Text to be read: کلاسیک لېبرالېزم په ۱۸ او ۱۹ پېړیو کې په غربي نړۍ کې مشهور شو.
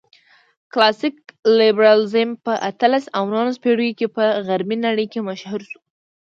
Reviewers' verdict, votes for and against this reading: rejected, 0, 2